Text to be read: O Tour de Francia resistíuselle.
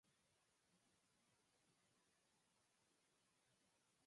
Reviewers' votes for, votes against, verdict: 0, 4, rejected